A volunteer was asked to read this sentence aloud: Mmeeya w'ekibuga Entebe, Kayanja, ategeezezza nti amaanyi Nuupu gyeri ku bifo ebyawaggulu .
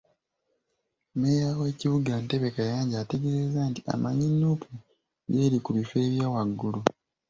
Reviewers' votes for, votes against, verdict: 1, 2, rejected